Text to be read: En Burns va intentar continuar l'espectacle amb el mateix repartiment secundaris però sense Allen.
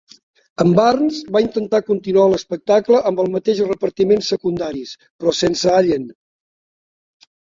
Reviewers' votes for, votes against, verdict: 2, 0, accepted